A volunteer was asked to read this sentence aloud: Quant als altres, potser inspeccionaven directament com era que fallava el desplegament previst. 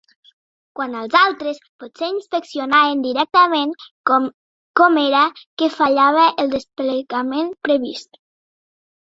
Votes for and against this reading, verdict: 0, 2, rejected